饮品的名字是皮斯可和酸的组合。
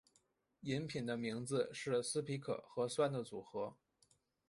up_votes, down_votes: 0, 3